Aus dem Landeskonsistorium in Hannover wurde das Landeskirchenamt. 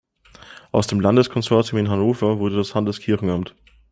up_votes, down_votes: 2, 0